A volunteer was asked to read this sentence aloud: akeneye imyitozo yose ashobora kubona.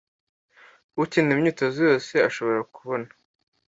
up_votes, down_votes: 2, 1